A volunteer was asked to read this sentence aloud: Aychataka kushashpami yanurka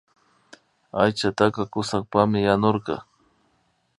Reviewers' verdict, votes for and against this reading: rejected, 1, 2